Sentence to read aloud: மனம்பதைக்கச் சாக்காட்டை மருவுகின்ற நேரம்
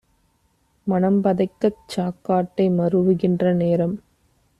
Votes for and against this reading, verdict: 2, 0, accepted